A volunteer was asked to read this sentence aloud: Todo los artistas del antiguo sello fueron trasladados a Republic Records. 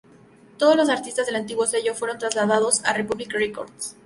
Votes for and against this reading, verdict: 2, 0, accepted